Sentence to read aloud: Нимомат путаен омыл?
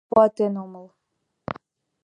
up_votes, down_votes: 0, 2